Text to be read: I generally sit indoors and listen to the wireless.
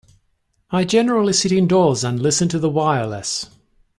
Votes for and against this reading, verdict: 2, 0, accepted